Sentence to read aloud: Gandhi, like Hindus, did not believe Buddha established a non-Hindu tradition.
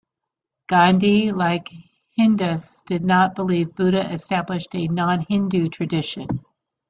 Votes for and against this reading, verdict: 0, 2, rejected